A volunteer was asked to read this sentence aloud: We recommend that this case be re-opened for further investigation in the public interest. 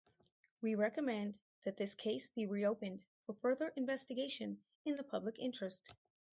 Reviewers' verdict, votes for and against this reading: accepted, 2, 0